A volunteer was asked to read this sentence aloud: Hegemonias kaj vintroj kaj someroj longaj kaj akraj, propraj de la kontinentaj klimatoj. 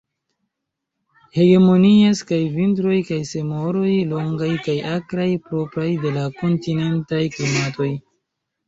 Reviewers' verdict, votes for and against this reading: accepted, 2, 0